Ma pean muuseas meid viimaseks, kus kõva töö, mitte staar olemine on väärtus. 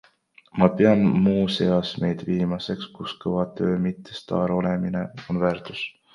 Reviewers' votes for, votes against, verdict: 1, 2, rejected